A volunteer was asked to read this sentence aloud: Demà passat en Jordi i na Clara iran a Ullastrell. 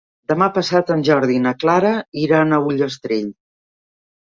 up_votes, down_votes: 3, 0